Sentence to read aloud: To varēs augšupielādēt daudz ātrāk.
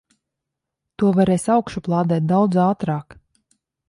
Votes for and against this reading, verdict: 0, 2, rejected